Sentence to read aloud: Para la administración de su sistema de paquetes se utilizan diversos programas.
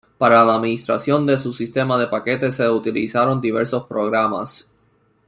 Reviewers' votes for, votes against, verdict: 1, 2, rejected